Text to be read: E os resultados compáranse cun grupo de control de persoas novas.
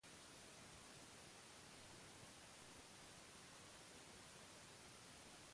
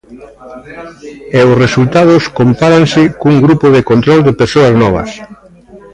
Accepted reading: second